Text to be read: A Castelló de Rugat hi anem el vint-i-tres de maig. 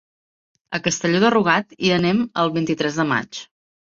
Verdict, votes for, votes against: accepted, 3, 0